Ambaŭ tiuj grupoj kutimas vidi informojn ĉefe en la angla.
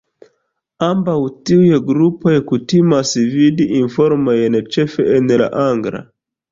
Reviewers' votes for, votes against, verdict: 1, 2, rejected